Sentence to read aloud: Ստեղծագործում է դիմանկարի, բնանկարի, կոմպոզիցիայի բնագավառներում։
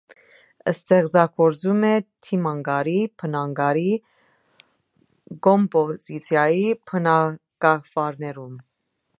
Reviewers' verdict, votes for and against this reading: rejected, 1, 2